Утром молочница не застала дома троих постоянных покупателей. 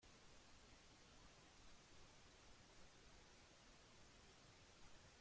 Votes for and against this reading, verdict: 0, 2, rejected